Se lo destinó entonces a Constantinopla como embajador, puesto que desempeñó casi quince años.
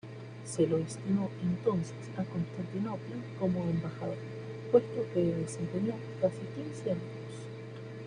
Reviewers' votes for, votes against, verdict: 2, 1, accepted